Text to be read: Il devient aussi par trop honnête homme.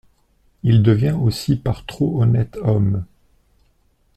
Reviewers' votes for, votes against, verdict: 2, 0, accepted